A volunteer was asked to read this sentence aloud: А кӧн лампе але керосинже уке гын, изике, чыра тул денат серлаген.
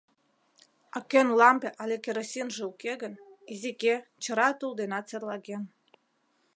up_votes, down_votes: 2, 1